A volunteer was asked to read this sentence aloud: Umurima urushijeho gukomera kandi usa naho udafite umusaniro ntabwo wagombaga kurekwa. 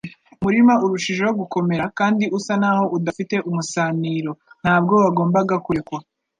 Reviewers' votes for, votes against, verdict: 3, 0, accepted